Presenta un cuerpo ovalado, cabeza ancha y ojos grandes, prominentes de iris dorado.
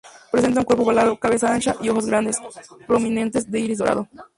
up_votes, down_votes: 0, 2